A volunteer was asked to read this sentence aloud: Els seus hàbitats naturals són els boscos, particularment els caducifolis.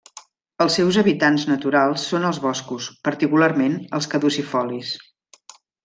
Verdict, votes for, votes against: rejected, 0, 2